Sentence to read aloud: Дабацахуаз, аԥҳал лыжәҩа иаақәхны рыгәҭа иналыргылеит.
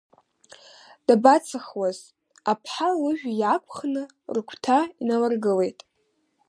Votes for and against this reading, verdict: 2, 0, accepted